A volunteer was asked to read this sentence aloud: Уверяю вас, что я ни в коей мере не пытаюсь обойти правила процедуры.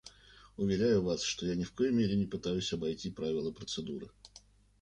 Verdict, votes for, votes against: accepted, 2, 0